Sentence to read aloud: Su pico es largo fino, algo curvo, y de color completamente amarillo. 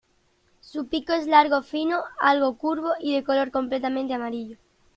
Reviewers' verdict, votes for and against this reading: accepted, 2, 0